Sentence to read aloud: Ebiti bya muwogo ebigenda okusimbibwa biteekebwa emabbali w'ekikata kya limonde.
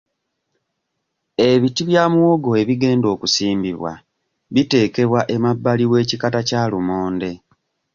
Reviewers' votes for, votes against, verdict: 1, 2, rejected